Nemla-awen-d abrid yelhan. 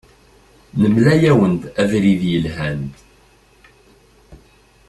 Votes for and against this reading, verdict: 2, 0, accepted